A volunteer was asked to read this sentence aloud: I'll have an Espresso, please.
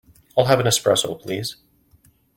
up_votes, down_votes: 2, 0